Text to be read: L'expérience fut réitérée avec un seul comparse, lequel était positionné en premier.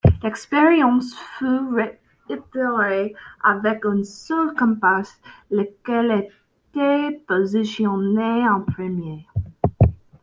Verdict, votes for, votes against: accepted, 2, 0